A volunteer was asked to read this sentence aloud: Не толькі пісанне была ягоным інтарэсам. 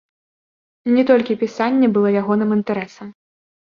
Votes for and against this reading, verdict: 2, 0, accepted